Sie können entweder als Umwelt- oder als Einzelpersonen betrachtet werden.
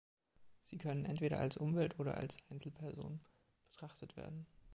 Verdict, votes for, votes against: rejected, 1, 3